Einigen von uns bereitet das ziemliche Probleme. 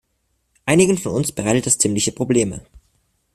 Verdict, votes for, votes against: accepted, 2, 1